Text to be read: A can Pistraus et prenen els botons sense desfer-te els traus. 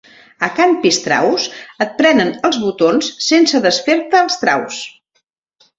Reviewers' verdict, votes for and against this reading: accepted, 2, 0